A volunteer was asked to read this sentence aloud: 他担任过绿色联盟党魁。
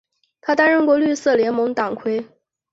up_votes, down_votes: 0, 2